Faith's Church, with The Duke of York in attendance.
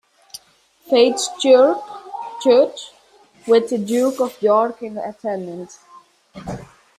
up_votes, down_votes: 0, 2